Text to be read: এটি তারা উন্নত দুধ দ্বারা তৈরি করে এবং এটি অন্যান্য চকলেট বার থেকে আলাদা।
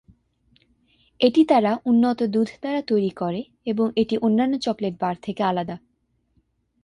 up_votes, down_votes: 2, 0